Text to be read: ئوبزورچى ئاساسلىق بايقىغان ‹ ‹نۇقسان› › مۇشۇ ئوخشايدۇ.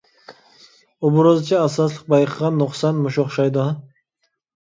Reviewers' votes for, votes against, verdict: 1, 2, rejected